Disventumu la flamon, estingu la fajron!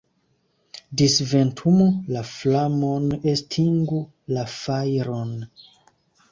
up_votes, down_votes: 2, 0